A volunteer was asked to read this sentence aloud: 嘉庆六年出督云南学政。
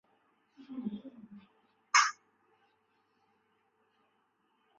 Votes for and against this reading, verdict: 1, 6, rejected